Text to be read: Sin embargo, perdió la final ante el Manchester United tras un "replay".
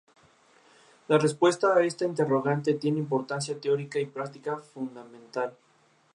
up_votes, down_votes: 0, 2